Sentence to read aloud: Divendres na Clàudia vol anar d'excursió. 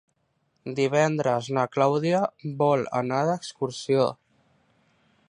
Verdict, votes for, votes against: accepted, 3, 0